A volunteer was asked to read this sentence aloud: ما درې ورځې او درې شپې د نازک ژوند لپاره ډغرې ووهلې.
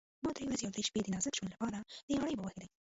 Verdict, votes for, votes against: rejected, 1, 2